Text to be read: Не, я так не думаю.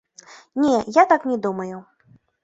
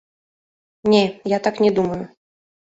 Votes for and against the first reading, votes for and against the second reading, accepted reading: 2, 0, 0, 2, first